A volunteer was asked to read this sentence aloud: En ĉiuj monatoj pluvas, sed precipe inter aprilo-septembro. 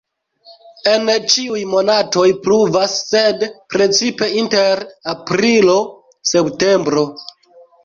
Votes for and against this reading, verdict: 0, 2, rejected